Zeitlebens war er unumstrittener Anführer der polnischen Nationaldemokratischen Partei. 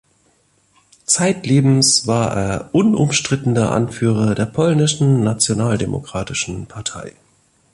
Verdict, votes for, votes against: accepted, 2, 0